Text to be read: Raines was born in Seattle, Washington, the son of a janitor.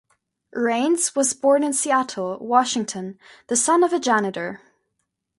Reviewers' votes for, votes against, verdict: 2, 0, accepted